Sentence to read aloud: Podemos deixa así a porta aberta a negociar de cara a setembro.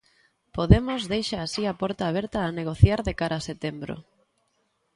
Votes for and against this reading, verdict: 2, 0, accepted